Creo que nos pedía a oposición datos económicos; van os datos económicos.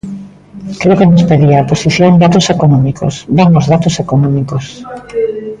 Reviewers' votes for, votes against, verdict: 0, 2, rejected